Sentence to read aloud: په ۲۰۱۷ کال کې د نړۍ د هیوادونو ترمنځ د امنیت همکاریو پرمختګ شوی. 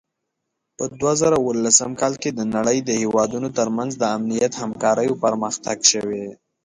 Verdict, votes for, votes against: rejected, 0, 2